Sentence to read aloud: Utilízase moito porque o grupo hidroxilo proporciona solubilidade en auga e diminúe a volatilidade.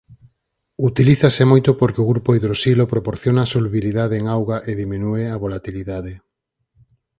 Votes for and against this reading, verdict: 4, 0, accepted